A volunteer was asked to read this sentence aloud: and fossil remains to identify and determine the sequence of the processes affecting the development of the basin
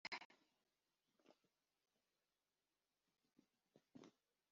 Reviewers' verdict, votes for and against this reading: rejected, 0, 3